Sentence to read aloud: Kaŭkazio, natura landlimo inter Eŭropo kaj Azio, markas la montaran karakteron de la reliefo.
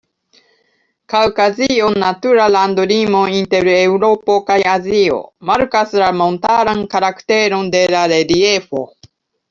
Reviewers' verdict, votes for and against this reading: rejected, 0, 2